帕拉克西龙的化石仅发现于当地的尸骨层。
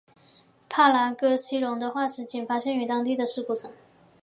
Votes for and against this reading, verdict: 2, 0, accepted